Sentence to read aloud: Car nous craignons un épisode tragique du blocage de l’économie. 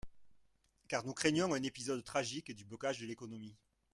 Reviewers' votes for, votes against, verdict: 0, 2, rejected